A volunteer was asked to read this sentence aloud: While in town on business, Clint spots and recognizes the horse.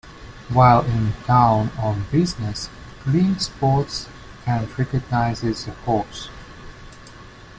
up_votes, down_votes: 2, 0